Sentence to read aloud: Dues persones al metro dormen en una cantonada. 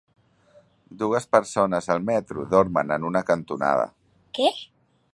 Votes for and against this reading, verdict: 2, 1, accepted